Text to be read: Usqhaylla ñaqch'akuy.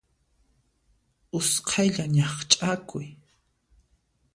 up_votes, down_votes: 2, 0